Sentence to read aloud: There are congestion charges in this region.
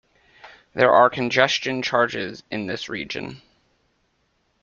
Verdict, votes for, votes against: accepted, 2, 0